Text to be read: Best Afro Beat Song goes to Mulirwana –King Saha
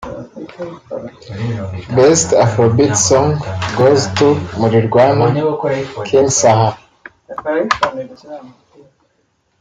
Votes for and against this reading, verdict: 0, 2, rejected